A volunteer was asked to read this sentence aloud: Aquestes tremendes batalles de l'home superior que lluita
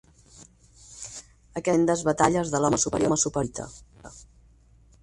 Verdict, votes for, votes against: rejected, 2, 4